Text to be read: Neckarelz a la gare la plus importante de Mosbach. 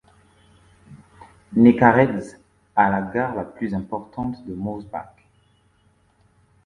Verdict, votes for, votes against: rejected, 1, 2